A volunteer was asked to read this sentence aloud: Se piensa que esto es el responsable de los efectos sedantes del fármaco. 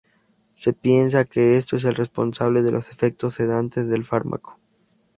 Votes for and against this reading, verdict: 2, 2, rejected